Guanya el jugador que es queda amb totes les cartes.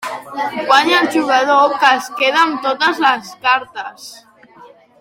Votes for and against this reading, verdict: 3, 1, accepted